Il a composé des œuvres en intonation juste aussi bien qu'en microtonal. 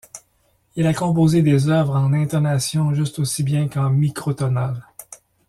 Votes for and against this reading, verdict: 2, 0, accepted